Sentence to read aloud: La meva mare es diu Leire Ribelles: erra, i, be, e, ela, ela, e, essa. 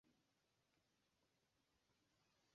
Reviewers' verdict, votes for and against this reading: rejected, 0, 2